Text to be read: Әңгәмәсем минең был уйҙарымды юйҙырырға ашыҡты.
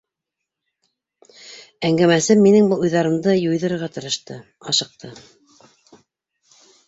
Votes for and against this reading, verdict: 0, 2, rejected